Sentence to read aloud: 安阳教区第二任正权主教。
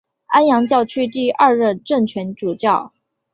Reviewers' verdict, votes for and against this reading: accepted, 3, 0